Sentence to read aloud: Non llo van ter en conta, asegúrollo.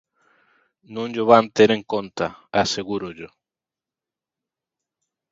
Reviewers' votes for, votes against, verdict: 2, 0, accepted